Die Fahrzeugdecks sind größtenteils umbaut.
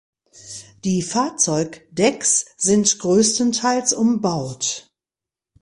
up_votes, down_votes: 2, 0